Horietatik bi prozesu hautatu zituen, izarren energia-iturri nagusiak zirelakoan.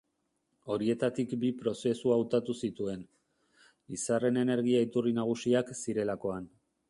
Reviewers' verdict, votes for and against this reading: rejected, 1, 2